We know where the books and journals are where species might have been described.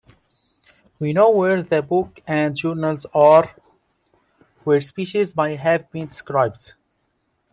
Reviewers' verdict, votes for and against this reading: rejected, 0, 2